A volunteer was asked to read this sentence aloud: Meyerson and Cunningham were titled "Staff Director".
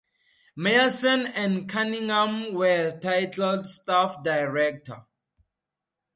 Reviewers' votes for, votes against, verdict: 2, 0, accepted